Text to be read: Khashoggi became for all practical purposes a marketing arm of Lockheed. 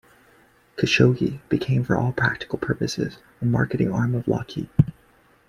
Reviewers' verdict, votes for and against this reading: accepted, 2, 0